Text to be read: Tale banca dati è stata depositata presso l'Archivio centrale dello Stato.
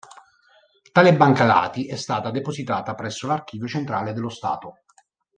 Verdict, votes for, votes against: accepted, 2, 0